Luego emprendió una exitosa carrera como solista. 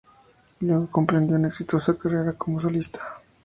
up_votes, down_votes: 0, 2